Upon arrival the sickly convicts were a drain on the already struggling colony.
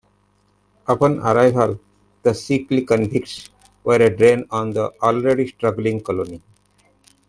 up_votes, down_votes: 1, 2